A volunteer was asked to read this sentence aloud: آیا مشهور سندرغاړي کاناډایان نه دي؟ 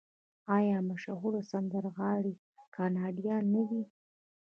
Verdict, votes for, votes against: rejected, 0, 2